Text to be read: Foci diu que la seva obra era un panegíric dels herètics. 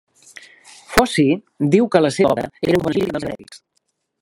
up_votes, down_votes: 0, 2